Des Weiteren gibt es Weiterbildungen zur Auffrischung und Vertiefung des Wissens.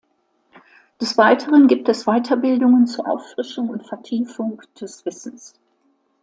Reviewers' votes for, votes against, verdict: 2, 0, accepted